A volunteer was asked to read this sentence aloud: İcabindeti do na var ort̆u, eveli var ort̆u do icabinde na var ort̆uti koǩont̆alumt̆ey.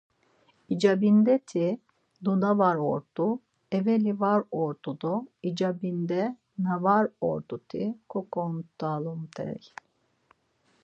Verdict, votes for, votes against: accepted, 4, 0